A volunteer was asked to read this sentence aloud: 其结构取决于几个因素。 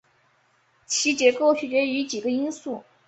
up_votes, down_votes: 2, 0